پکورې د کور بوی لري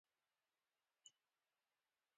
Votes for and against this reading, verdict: 2, 0, accepted